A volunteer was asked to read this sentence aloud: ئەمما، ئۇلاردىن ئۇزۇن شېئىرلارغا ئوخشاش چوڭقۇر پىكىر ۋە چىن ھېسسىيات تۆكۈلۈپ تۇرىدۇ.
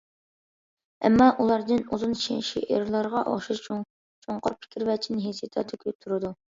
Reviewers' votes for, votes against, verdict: 0, 2, rejected